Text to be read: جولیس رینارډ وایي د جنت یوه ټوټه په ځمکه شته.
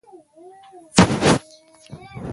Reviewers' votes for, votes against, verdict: 1, 2, rejected